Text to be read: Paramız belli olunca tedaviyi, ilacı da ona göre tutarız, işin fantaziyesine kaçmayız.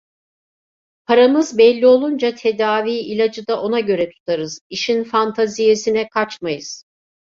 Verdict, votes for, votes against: accepted, 2, 0